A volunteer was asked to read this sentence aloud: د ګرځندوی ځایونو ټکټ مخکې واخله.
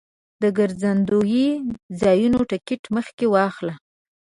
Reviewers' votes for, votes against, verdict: 1, 2, rejected